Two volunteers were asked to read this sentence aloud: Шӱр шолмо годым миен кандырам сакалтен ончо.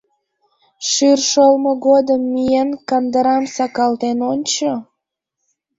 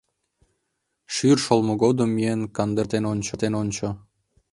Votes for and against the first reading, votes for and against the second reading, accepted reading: 2, 1, 0, 2, first